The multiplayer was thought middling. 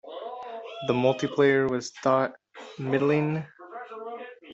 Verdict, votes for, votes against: rejected, 1, 2